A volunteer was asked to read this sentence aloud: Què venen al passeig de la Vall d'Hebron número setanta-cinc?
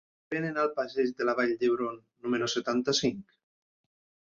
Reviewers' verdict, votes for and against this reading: rejected, 0, 2